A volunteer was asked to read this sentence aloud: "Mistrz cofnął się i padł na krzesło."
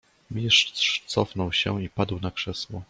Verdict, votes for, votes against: rejected, 0, 2